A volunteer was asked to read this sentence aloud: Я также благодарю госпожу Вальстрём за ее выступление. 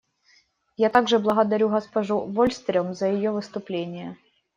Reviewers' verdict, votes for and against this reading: rejected, 1, 2